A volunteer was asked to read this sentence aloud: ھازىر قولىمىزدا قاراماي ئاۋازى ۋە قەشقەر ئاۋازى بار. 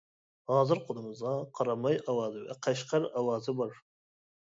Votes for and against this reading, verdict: 1, 2, rejected